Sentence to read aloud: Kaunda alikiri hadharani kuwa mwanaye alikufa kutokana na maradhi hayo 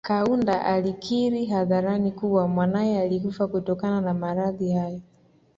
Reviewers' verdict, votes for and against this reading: accepted, 2, 0